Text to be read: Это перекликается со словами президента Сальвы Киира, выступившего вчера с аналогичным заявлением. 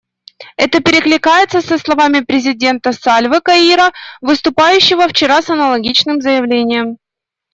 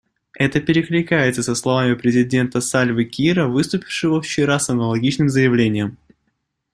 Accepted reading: second